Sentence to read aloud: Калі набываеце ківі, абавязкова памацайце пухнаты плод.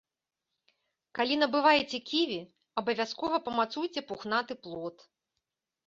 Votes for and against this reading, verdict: 0, 2, rejected